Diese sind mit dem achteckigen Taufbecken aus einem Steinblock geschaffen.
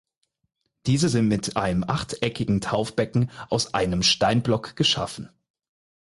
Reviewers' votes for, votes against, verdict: 0, 4, rejected